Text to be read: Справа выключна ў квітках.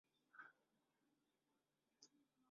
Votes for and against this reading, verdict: 0, 2, rejected